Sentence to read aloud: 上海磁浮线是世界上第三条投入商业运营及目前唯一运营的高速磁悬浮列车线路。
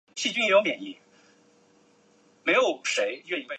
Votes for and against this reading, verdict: 0, 2, rejected